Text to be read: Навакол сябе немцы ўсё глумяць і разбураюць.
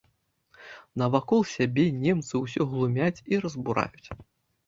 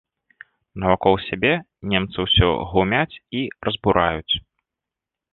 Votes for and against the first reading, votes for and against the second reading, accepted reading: 0, 2, 2, 0, second